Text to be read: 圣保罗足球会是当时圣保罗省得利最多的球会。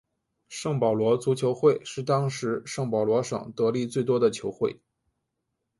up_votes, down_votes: 7, 0